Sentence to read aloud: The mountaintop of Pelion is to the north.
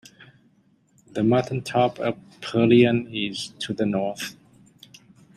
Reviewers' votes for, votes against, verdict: 0, 2, rejected